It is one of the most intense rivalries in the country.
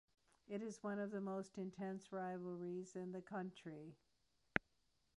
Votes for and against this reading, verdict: 2, 0, accepted